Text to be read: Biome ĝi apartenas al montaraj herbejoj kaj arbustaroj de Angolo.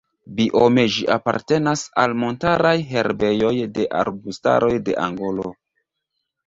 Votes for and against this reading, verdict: 1, 2, rejected